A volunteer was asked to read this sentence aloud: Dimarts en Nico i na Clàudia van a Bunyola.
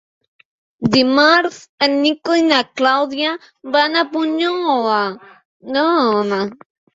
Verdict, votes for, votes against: rejected, 1, 2